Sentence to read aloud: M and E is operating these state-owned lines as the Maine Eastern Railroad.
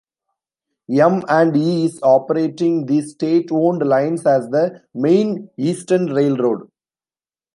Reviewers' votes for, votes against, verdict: 0, 2, rejected